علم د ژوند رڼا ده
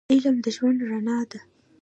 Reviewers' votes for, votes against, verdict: 2, 0, accepted